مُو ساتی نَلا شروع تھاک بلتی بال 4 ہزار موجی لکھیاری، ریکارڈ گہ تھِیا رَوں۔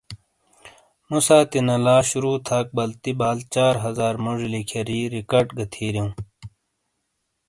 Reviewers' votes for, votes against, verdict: 0, 2, rejected